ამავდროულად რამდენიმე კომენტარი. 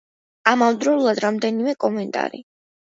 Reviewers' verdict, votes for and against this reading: accepted, 2, 0